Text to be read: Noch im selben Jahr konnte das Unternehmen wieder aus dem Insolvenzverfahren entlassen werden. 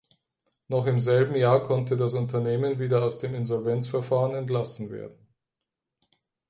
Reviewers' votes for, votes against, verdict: 2, 4, rejected